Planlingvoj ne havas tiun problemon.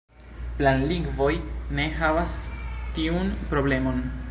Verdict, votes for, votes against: accepted, 2, 0